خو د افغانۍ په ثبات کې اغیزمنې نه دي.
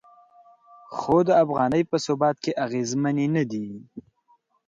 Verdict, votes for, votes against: accepted, 2, 0